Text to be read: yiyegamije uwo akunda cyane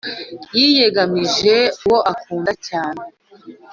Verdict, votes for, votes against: accepted, 2, 0